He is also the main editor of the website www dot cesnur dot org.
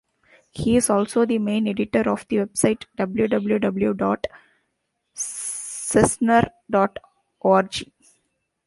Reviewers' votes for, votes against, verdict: 1, 2, rejected